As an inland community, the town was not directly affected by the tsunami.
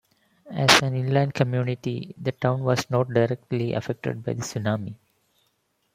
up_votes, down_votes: 2, 1